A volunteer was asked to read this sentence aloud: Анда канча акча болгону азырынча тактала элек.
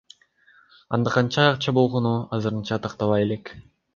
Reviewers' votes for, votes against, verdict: 2, 0, accepted